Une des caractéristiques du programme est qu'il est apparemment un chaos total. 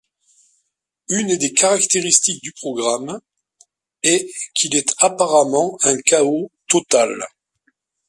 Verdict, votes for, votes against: accepted, 2, 0